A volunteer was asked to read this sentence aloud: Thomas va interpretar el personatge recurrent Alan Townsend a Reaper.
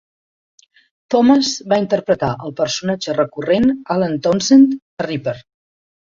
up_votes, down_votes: 2, 0